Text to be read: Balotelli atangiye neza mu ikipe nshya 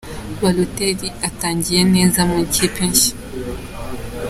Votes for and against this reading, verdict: 2, 0, accepted